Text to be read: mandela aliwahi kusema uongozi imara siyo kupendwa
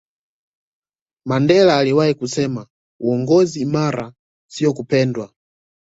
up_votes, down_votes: 2, 0